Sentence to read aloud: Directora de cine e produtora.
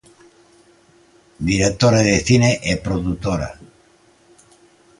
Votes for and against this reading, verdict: 2, 0, accepted